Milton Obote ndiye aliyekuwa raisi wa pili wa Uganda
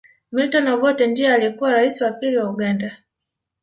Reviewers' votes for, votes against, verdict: 1, 2, rejected